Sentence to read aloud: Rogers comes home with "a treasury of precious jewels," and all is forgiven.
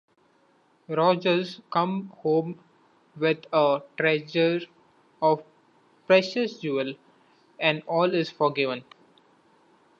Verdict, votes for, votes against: rejected, 0, 2